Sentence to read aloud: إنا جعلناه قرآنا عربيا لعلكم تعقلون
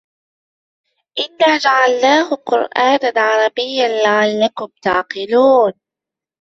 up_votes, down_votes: 2, 0